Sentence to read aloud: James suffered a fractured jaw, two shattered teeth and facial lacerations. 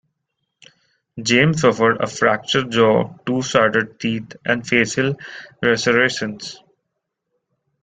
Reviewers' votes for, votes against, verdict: 2, 0, accepted